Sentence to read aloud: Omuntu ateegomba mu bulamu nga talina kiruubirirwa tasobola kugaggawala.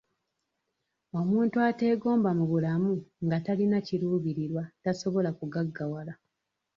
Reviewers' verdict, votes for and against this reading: accepted, 2, 0